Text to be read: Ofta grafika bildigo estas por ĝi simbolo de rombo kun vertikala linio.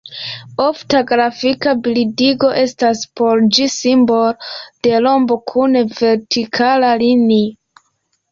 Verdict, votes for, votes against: accepted, 2, 1